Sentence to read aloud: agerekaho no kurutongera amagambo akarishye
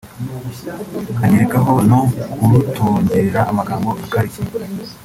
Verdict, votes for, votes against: rejected, 0, 2